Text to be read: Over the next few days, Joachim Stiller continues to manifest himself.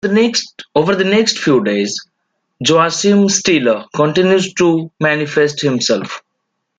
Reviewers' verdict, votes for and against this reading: rejected, 0, 2